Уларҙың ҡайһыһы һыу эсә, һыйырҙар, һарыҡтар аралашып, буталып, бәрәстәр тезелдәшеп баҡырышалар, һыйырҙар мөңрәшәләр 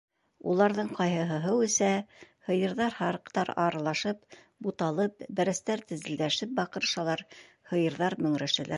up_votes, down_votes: 2, 1